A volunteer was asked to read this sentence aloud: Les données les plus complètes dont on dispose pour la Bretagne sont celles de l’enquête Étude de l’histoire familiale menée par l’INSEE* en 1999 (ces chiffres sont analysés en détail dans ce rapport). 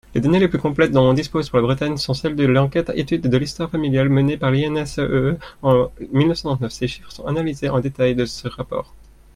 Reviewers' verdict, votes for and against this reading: rejected, 0, 2